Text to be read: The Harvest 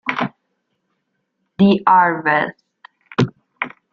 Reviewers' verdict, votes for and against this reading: rejected, 1, 2